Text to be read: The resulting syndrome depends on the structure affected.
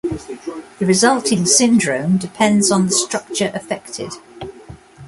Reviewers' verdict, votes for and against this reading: accepted, 2, 0